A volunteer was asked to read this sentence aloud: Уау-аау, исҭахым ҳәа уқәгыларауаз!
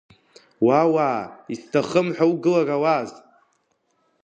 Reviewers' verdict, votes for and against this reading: rejected, 0, 2